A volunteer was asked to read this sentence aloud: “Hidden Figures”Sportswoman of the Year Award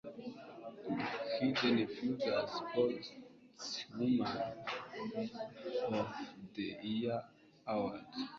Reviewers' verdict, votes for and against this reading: rejected, 1, 2